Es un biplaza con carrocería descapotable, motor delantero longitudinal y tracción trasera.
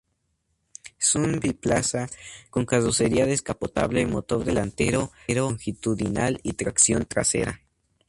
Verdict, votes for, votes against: accepted, 2, 0